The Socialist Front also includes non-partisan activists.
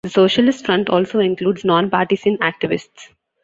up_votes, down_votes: 2, 1